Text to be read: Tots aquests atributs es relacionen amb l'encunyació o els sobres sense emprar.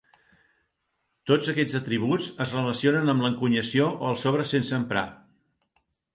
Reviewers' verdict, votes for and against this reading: accepted, 2, 0